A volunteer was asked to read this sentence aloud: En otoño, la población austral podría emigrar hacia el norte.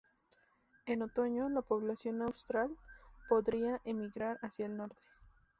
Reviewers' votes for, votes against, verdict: 2, 0, accepted